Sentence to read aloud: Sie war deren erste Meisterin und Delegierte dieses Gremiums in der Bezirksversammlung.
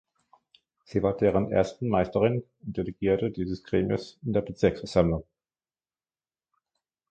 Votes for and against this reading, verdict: 0, 2, rejected